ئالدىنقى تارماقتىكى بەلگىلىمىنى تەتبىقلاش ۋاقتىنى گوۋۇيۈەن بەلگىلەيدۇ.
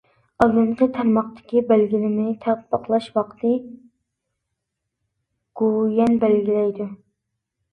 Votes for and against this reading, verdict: 0, 2, rejected